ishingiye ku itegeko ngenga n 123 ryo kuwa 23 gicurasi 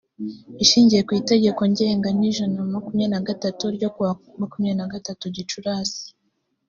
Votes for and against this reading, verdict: 0, 2, rejected